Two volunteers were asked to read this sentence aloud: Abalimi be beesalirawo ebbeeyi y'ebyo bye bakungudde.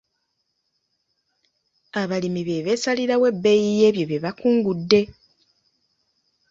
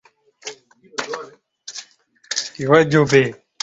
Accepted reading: first